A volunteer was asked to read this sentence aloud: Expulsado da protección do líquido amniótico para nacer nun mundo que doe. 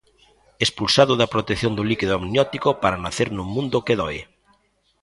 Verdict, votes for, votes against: accepted, 2, 0